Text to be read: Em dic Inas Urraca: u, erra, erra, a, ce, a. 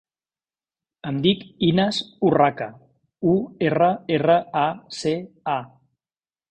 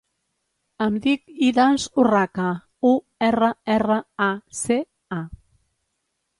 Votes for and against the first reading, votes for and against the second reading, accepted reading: 2, 0, 1, 2, first